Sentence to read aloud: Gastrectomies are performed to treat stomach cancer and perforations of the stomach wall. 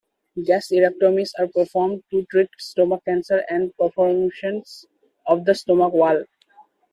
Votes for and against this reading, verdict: 1, 2, rejected